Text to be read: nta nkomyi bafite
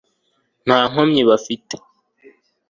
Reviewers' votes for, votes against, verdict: 2, 0, accepted